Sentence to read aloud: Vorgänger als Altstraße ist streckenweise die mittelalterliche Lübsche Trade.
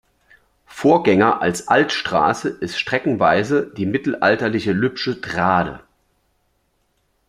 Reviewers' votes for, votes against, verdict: 2, 0, accepted